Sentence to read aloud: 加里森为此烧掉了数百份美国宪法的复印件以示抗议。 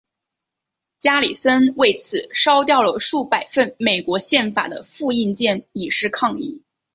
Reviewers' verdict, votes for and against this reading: accepted, 2, 0